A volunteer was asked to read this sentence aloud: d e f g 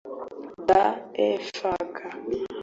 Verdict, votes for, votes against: rejected, 1, 2